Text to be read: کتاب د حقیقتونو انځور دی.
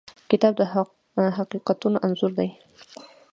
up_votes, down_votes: 2, 1